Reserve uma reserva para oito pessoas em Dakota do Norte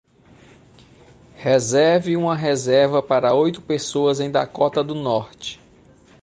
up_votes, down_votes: 2, 0